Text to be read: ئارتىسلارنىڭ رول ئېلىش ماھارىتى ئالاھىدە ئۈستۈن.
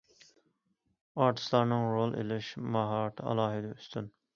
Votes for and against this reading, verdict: 2, 0, accepted